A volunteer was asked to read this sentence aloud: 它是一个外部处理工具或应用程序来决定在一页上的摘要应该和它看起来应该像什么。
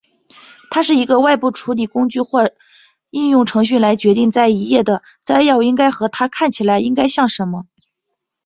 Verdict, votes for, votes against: rejected, 1, 2